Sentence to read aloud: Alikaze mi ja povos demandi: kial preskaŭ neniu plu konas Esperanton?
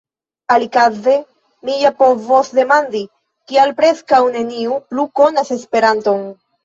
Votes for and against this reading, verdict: 1, 2, rejected